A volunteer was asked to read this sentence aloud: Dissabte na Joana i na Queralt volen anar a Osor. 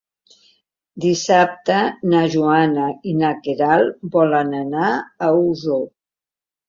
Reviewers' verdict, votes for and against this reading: accepted, 4, 0